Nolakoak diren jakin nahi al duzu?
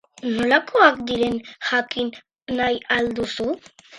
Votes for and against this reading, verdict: 4, 0, accepted